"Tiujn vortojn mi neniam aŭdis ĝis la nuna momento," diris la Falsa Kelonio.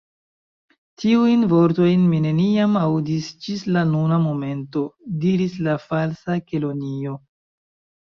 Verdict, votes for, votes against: rejected, 1, 2